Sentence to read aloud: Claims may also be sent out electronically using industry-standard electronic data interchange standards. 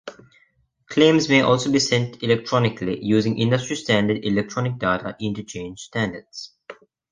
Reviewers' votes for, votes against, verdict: 0, 2, rejected